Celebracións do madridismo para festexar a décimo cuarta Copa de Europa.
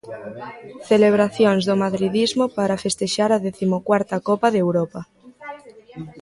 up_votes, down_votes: 2, 0